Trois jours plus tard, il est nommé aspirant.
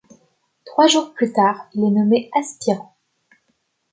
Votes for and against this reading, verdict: 1, 2, rejected